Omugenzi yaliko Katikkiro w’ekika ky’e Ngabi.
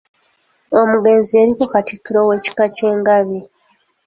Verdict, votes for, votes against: accepted, 2, 0